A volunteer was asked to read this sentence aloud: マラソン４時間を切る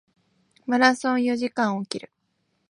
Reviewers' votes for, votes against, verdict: 0, 2, rejected